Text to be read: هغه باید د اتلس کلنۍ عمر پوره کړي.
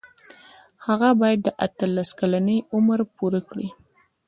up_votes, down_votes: 0, 2